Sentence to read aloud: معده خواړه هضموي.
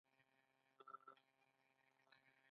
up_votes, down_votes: 0, 2